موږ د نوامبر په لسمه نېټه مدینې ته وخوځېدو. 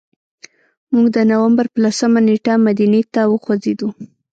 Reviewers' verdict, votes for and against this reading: rejected, 1, 2